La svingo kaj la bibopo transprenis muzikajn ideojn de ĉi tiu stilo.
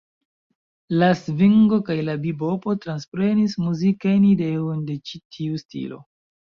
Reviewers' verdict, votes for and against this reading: accepted, 2, 1